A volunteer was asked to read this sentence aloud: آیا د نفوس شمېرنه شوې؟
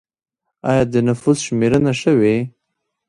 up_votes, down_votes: 2, 0